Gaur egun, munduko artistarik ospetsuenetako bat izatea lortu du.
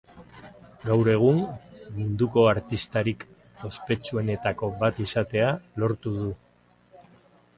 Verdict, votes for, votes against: rejected, 1, 2